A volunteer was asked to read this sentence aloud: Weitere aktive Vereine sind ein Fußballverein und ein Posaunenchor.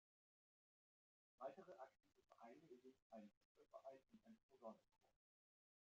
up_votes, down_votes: 0, 2